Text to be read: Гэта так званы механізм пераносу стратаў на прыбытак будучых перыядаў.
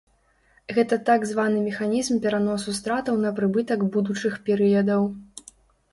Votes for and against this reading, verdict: 2, 0, accepted